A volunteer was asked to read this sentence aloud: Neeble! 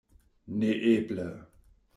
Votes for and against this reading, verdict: 1, 2, rejected